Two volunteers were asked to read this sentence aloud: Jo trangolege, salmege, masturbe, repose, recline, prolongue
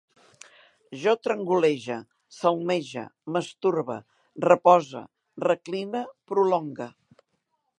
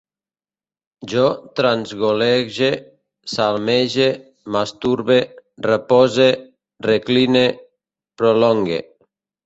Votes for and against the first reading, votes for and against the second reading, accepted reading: 2, 0, 1, 2, first